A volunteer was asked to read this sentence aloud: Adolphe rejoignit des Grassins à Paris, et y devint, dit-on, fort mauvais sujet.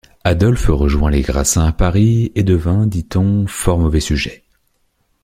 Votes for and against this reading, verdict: 0, 2, rejected